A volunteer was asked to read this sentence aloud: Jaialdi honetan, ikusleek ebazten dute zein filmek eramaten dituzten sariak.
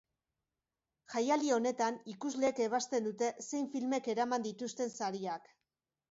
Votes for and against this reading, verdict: 1, 2, rejected